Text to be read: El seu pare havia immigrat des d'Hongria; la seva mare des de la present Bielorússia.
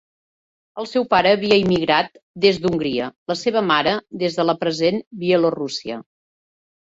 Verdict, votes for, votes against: accepted, 3, 0